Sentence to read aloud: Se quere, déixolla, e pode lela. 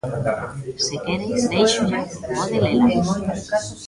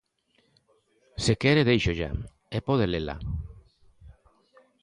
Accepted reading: second